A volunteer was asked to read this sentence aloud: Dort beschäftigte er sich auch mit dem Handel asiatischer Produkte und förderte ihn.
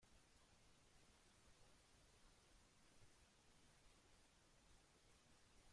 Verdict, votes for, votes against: rejected, 0, 2